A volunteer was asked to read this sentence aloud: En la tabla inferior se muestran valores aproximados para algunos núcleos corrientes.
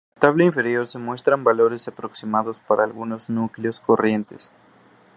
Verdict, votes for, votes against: rejected, 0, 2